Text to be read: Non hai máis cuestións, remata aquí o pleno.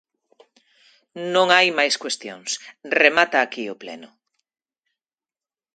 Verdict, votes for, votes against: accepted, 2, 0